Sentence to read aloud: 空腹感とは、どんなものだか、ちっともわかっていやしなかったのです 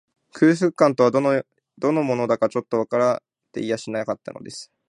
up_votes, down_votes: 0, 2